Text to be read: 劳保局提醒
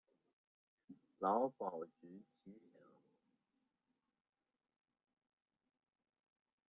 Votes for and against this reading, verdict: 0, 2, rejected